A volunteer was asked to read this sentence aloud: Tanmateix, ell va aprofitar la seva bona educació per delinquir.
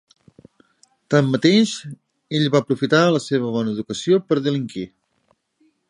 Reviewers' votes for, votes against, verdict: 2, 0, accepted